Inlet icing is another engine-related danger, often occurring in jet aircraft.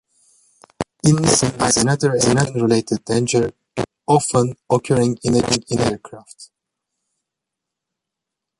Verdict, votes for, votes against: rejected, 0, 2